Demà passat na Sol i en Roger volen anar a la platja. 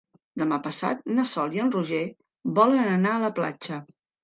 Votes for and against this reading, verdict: 3, 0, accepted